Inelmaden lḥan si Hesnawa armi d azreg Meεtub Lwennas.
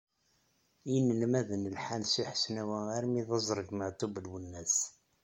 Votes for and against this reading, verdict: 2, 0, accepted